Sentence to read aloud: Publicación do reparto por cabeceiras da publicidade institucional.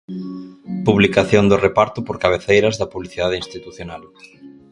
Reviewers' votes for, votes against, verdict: 2, 2, rejected